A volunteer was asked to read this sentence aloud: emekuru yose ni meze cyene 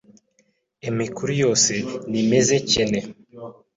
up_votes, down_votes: 1, 2